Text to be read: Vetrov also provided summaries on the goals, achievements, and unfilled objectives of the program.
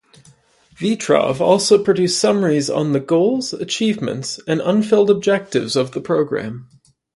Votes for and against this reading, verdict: 2, 5, rejected